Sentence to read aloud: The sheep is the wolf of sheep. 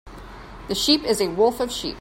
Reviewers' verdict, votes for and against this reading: rejected, 1, 2